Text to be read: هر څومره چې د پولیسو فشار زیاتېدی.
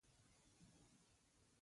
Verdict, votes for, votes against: rejected, 0, 2